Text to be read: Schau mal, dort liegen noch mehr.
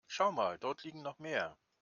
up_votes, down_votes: 2, 0